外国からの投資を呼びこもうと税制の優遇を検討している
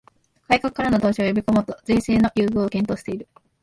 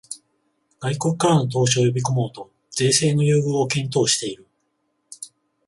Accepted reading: second